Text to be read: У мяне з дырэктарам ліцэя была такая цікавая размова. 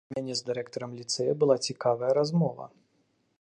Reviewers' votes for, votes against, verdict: 1, 2, rejected